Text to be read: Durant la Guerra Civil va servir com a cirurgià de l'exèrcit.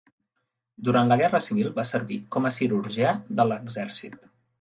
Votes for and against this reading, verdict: 3, 0, accepted